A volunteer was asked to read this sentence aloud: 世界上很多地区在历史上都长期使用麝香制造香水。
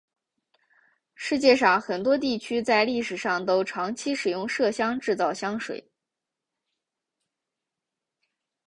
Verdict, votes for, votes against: accepted, 5, 0